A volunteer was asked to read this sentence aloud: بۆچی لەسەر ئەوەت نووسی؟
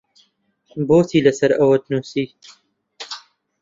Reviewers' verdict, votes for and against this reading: rejected, 0, 2